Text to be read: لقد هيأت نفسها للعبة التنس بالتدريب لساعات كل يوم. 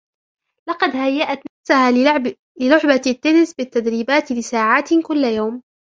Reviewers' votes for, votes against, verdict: 0, 2, rejected